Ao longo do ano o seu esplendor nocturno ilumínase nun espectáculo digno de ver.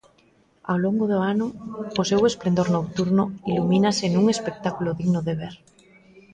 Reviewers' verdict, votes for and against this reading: rejected, 1, 2